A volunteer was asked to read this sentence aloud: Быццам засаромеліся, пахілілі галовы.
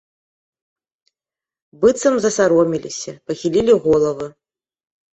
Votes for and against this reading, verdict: 1, 2, rejected